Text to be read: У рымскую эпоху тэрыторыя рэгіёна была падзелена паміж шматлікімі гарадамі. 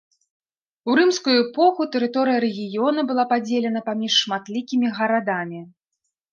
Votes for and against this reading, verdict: 2, 0, accepted